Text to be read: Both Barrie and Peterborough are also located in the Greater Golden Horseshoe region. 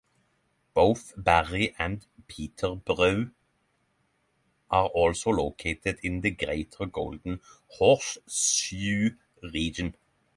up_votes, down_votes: 6, 3